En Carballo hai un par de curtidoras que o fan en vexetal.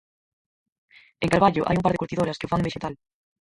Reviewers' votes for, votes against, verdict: 0, 4, rejected